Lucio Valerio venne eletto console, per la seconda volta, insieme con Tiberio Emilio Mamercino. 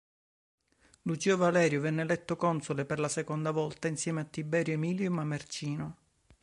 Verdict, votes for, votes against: rejected, 1, 2